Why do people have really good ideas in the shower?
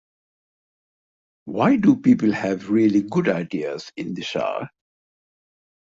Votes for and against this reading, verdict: 4, 0, accepted